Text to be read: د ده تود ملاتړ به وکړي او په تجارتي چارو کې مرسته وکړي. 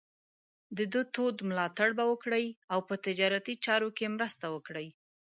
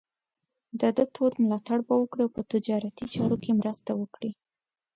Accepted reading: second